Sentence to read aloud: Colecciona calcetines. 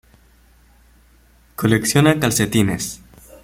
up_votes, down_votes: 2, 0